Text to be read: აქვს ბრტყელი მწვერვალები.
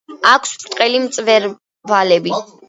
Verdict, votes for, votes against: rejected, 1, 2